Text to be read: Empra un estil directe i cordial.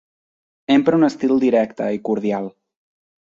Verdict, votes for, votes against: accepted, 3, 0